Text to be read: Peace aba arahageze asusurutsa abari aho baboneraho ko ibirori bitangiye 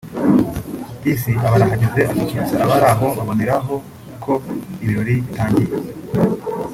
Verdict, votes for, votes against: accepted, 2, 0